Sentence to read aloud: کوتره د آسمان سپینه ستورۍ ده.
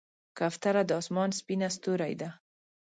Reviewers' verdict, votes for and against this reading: rejected, 0, 2